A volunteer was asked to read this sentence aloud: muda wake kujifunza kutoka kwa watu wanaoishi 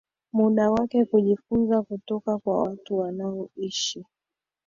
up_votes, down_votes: 2, 0